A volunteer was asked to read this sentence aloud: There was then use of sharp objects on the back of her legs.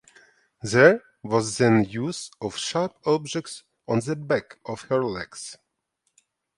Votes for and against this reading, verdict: 2, 0, accepted